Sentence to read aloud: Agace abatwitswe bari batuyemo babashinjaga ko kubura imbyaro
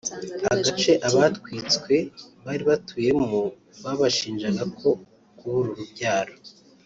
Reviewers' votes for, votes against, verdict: 1, 2, rejected